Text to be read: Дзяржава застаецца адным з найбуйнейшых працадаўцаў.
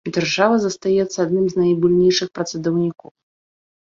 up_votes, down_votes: 0, 3